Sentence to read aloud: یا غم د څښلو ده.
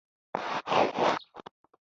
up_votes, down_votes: 2, 0